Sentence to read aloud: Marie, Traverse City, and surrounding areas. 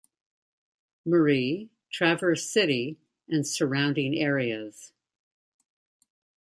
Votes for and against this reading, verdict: 2, 0, accepted